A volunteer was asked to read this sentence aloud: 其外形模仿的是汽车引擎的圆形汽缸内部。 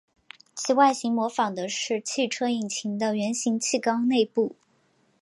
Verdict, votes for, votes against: accepted, 4, 0